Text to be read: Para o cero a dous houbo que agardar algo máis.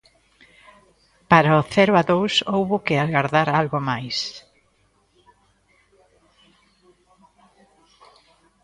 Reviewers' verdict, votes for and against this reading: rejected, 1, 2